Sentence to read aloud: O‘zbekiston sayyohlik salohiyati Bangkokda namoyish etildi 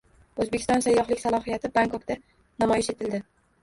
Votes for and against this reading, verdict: 1, 2, rejected